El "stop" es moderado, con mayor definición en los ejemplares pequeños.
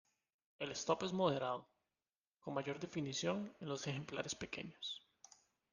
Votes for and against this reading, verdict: 2, 1, accepted